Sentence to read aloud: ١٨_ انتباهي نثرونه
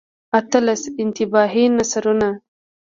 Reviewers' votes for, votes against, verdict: 0, 2, rejected